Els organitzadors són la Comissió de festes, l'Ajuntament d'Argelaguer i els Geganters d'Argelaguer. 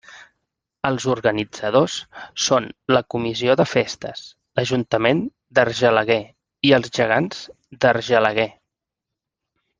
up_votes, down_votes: 0, 2